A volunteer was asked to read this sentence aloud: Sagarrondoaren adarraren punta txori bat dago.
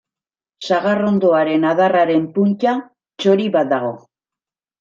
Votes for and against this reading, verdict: 2, 1, accepted